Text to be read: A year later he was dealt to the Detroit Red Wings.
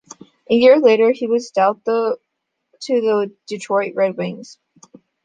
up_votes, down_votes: 0, 2